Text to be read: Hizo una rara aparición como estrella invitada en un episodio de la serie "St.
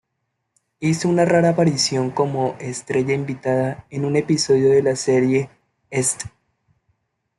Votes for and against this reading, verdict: 1, 2, rejected